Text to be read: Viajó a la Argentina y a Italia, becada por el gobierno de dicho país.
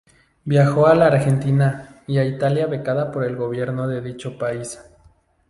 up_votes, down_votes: 2, 0